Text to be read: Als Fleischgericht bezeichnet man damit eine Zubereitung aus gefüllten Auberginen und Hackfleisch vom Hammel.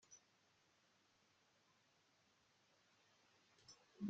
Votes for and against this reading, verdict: 0, 2, rejected